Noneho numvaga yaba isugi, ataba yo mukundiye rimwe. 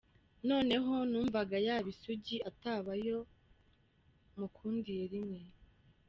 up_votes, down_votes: 1, 2